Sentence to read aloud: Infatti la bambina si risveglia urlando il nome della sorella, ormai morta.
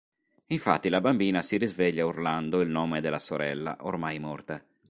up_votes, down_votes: 2, 0